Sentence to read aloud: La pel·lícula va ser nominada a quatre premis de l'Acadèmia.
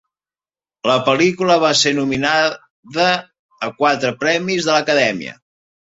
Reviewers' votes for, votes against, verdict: 1, 2, rejected